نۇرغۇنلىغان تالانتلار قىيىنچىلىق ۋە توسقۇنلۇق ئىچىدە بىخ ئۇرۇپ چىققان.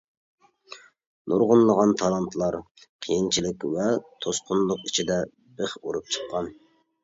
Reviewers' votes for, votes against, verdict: 1, 2, rejected